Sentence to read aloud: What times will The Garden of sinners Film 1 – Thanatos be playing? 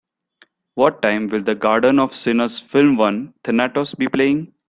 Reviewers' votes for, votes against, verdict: 0, 2, rejected